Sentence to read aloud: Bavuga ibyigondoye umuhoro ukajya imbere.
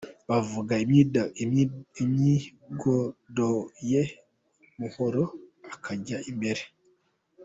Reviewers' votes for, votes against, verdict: 0, 2, rejected